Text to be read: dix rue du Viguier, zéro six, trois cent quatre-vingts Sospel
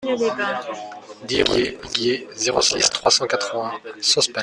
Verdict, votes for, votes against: rejected, 1, 2